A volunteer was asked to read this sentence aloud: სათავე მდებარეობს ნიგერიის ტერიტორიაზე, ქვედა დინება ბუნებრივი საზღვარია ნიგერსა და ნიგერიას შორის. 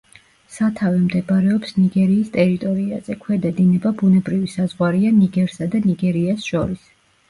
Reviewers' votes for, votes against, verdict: 1, 2, rejected